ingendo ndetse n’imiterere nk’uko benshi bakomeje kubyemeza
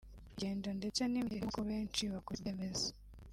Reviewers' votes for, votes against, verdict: 1, 2, rejected